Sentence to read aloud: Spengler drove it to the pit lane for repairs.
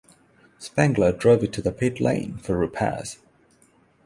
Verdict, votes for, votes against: rejected, 3, 3